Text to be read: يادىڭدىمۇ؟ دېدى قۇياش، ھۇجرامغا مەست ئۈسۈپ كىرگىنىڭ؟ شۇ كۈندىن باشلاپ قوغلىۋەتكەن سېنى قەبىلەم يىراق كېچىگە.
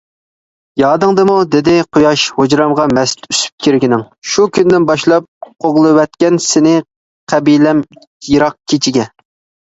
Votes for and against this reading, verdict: 2, 0, accepted